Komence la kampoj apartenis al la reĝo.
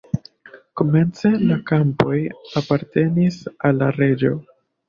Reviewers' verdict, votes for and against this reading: accepted, 2, 0